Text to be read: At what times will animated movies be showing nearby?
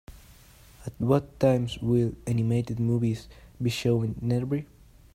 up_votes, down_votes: 1, 2